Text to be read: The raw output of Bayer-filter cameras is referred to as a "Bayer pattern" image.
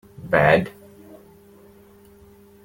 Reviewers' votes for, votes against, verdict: 0, 2, rejected